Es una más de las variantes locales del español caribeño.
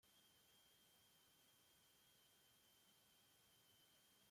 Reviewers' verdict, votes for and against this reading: rejected, 0, 2